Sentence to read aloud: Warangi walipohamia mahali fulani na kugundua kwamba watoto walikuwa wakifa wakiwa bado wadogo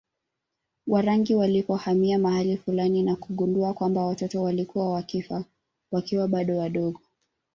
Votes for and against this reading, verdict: 2, 1, accepted